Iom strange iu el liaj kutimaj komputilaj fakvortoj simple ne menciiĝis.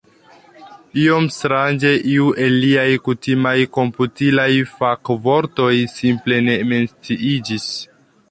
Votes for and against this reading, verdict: 0, 2, rejected